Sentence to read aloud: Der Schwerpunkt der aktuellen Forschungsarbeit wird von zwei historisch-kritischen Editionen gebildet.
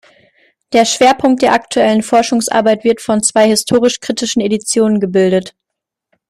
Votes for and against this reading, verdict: 1, 2, rejected